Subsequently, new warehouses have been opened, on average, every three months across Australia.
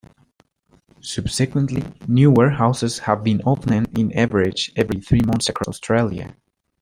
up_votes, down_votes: 3, 1